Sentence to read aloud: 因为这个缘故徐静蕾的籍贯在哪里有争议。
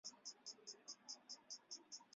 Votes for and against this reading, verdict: 0, 4, rejected